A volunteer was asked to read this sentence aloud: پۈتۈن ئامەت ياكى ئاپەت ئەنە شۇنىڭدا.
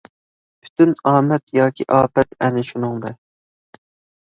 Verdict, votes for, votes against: accepted, 2, 0